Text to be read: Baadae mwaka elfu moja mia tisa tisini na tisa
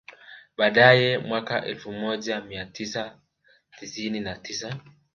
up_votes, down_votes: 3, 0